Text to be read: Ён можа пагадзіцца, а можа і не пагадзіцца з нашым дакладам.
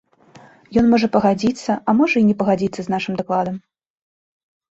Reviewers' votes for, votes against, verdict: 2, 0, accepted